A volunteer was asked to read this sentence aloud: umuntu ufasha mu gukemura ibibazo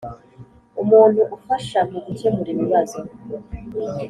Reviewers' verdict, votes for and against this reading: accepted, 4, 0